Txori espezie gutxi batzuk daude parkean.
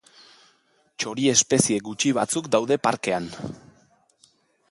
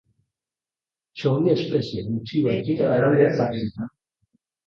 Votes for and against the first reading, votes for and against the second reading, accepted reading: 2, 0, 0, 3, first